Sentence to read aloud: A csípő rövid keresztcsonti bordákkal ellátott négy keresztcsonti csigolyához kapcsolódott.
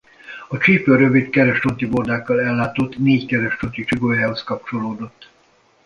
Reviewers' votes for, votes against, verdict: 1, 2, rejected